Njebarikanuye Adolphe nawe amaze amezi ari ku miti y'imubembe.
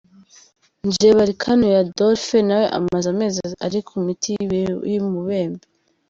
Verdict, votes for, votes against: rejected, 0, 2